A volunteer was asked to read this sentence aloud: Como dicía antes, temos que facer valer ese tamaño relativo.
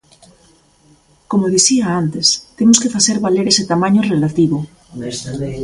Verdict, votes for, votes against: rejected, 1, 2